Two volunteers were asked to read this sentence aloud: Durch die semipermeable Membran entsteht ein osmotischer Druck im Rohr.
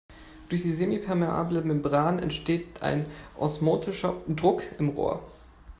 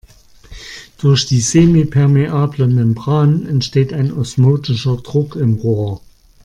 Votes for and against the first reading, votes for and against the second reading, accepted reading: 1, 2, 2, 0, second